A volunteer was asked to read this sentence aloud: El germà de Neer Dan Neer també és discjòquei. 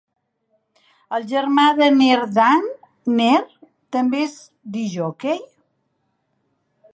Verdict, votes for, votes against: rejected, 1, 2